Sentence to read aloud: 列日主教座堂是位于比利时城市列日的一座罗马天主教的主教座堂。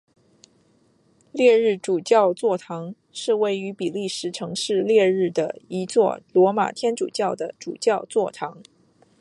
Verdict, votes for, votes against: accepted, 2, 0